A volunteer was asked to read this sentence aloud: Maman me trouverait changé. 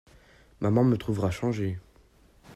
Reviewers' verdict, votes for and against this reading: rejected, 0, 2